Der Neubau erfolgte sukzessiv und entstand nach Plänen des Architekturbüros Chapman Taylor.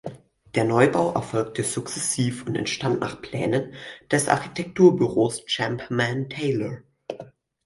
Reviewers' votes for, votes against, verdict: 2, 4, rejected